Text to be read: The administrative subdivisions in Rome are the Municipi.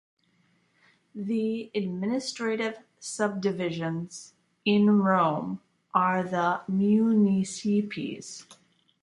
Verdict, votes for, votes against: rejected, 0, 2